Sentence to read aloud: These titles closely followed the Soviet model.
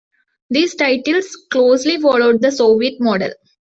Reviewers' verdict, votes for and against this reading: accepted, 2, 0